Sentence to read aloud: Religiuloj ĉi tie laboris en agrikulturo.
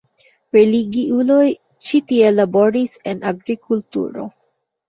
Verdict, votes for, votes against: rejected, 1, 2